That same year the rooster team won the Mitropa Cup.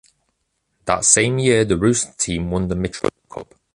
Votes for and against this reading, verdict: 0, 2, rejected